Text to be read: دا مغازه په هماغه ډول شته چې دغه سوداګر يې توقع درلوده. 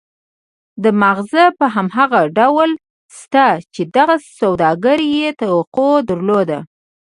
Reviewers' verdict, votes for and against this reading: rejected, 1, 2